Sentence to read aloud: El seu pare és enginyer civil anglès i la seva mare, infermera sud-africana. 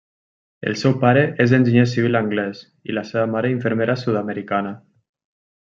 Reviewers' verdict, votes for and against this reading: rejected, 0, 2